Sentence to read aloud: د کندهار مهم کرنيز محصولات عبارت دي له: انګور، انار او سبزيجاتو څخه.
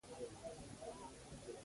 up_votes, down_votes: 0, 3